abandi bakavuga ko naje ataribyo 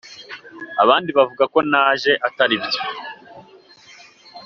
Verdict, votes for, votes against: accepted, 2, 1